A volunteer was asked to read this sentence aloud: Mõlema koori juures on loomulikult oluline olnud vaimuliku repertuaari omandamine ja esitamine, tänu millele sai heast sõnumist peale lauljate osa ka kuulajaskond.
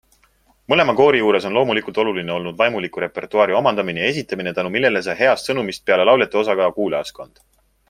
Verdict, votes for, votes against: accepted, 2, 0